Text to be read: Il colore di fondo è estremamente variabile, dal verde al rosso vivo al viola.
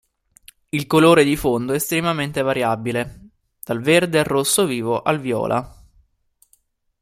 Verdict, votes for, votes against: accepted, 2, 0